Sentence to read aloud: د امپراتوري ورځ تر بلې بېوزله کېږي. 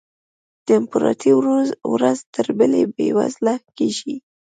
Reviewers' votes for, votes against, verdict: 0, 2, rejected